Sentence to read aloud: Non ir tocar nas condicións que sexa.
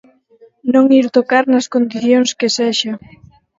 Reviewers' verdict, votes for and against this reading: rejected, 0, 4